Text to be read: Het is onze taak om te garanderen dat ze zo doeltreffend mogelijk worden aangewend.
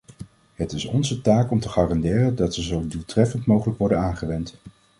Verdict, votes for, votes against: accepted, 2, 0